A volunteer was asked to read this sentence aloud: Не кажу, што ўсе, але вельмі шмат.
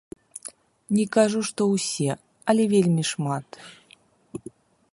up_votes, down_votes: 2, 0